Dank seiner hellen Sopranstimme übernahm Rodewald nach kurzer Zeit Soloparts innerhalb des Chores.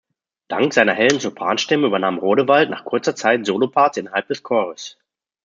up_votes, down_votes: 2, 0